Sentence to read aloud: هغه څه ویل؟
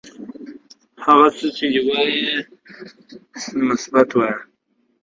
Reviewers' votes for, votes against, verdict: 0, 2, rejected